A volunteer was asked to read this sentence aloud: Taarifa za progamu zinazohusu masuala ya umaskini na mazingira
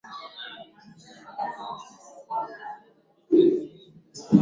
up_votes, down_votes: 0, 2